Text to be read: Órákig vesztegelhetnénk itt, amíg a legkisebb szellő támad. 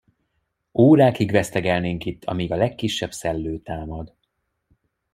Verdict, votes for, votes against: rejected, 0, 2